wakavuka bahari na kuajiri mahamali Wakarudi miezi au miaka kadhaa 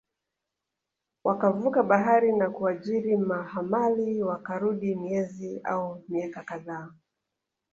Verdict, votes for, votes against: accepted, 4, 2